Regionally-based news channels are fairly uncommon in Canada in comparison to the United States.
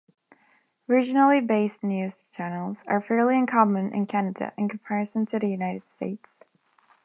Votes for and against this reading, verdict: 2, 0, accepted